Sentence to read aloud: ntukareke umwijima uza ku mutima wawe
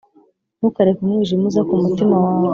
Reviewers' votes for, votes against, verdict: 2, 0, accepted